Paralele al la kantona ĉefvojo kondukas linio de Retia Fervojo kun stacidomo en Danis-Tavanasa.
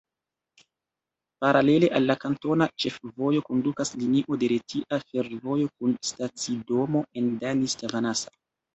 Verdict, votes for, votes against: accepted, 2, 0